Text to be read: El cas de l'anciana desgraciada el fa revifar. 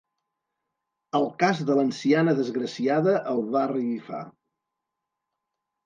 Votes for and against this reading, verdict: 0, 2, rejected